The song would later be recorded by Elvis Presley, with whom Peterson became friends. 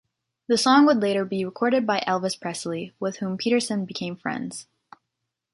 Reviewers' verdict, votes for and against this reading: accepted, 2, 0